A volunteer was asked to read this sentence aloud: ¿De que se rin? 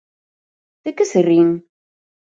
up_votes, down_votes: 2, 0